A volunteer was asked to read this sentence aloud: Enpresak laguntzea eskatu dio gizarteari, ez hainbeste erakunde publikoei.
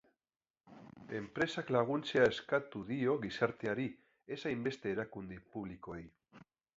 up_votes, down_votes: 7, 1